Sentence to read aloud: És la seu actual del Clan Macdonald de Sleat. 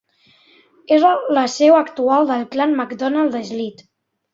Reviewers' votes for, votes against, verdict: 1, 2, rejected